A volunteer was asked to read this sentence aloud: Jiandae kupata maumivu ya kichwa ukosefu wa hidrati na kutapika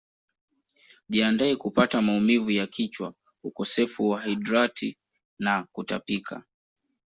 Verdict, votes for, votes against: accepted, 2, 1